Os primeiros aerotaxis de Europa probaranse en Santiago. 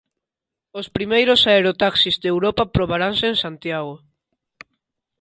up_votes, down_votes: 2, 0